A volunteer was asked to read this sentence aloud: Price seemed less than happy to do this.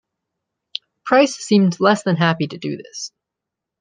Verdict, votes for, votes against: accepted, 2, 0